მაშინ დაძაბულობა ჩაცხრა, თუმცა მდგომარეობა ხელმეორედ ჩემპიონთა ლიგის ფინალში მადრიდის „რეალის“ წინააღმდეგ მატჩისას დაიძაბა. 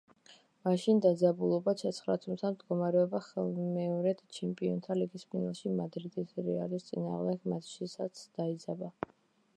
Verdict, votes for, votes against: rejected, 1, 2